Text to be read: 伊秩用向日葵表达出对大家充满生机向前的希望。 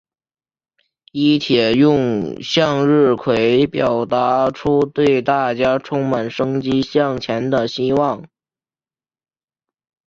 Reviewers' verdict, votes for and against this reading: accepted, 2, 1